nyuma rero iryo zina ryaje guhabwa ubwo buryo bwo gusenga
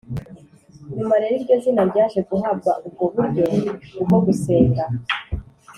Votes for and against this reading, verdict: 2, 0, accepted